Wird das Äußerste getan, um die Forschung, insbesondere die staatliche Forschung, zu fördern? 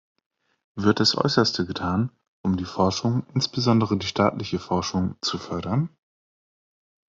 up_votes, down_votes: 2, 0